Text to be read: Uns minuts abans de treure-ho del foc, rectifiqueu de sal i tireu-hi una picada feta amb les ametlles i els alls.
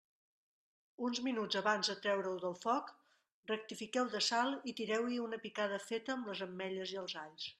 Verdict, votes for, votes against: accepted, 2, 0